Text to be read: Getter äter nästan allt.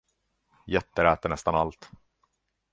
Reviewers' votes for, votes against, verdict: 2, 0, accepted